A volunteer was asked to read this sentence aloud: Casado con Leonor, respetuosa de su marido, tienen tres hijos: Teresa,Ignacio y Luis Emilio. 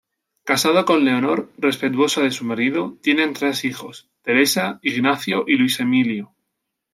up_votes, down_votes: 2, 0